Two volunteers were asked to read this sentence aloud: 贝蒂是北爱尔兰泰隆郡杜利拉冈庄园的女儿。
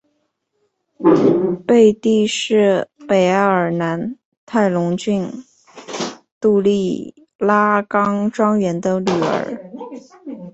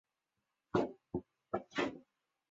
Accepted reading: first